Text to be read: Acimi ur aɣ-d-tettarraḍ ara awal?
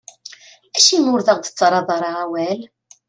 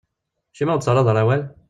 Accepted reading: first